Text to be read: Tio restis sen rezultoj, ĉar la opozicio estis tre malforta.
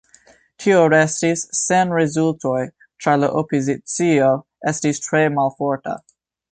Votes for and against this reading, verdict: 1, 2, rejected